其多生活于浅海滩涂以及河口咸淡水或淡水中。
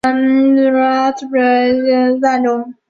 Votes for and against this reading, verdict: 0, 2, rejected